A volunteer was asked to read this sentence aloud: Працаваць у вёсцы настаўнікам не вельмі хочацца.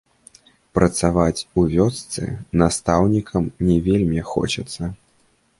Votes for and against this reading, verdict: 2, 0, accepted